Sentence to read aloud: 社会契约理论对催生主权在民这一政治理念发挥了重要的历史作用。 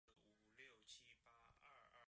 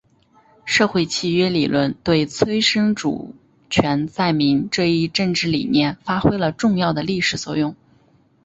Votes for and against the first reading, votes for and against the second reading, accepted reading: 2, 3, 2, 0, second